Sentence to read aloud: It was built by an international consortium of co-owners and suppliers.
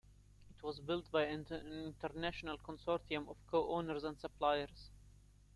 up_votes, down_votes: 0, 2